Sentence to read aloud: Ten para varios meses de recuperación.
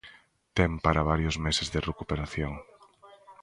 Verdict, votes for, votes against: accepted, 2, 0